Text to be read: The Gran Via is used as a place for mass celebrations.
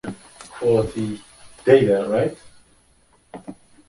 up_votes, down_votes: 0, 2